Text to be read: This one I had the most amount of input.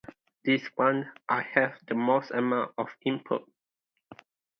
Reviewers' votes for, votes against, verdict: 2, 0, accepted